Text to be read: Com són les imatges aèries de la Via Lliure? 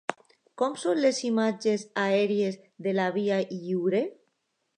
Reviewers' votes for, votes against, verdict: 2, 0, accepted